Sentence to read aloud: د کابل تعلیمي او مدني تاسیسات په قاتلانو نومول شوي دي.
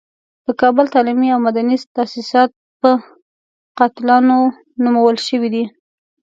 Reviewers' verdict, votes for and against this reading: rejected, 1, 2